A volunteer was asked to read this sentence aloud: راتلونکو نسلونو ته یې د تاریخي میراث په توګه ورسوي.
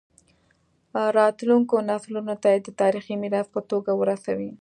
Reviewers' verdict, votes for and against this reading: accepted, 2, 0